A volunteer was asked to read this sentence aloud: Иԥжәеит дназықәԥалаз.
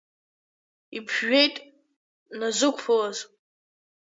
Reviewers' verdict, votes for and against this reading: rejected, 0, 2